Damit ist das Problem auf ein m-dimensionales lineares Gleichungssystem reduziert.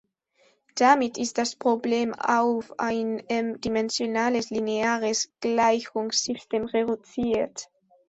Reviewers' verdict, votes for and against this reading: rejected, 1, 2